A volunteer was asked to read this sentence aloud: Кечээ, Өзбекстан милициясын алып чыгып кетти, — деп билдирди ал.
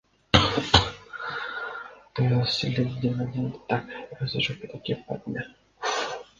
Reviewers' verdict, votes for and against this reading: rejected, 0, 2